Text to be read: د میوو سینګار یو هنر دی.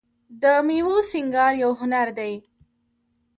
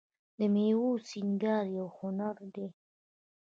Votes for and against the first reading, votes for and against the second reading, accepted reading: 2, 1, 1, 2, first